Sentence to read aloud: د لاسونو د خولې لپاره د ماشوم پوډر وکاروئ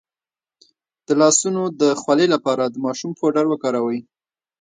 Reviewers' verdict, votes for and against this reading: accepted, 2, 0